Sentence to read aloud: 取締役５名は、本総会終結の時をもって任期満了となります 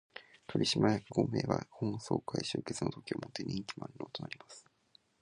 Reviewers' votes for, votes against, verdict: 0, 2, rejected